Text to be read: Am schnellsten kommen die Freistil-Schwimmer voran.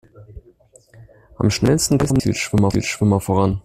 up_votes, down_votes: 0, 2